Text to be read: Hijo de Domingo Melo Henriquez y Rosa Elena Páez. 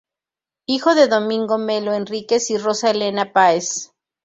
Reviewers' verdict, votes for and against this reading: accepted, 2, 0